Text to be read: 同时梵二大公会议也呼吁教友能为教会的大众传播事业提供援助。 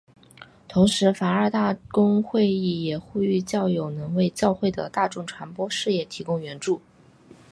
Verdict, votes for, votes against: accepted, 2, 0